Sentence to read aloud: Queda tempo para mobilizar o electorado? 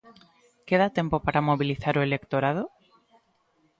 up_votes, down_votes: 2, 0